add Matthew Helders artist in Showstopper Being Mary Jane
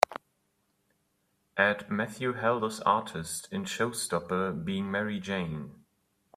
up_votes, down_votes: 2, 0